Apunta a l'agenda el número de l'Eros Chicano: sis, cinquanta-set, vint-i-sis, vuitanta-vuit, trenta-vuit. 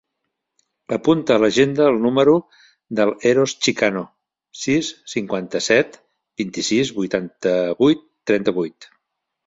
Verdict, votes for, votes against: rejected, 1, 2